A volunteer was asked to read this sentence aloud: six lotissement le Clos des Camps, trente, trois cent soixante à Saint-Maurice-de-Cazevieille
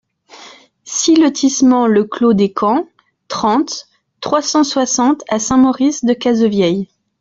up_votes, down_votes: 2, 0